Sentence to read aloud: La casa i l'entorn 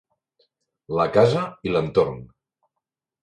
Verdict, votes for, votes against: accepted, 3, 0